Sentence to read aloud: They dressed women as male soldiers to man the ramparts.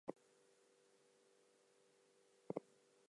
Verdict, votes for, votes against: rejected, 0, 4